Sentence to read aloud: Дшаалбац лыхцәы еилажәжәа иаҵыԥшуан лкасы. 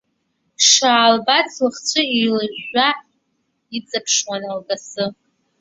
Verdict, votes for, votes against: accepted, 2, 1